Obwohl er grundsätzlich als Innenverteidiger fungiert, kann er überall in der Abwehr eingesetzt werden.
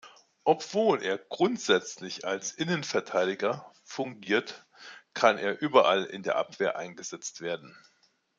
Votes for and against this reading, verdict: 2, 0, accepted